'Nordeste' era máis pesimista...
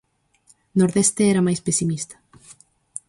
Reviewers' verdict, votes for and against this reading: accepted, 4, 0